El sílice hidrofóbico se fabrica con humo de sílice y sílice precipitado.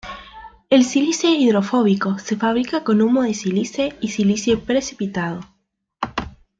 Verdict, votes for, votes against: rejected, 1, 2